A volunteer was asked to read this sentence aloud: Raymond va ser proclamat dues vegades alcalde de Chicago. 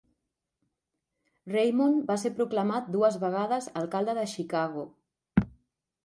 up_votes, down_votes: 1, 2